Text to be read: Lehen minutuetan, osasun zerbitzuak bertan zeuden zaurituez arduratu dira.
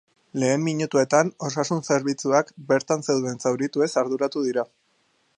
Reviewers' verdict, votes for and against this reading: accepted, 4, 0